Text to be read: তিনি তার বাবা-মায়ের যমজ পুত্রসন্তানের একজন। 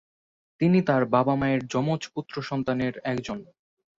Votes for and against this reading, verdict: 24, 0, accepted